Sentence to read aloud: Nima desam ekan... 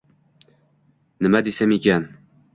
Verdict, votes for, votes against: rejected, 1, 2